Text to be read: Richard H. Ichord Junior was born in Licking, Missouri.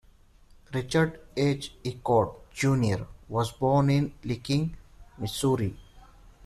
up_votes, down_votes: 2, 0